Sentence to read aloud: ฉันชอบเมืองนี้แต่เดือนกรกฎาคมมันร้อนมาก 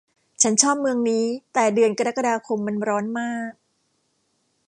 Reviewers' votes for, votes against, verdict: 2, 0, accepted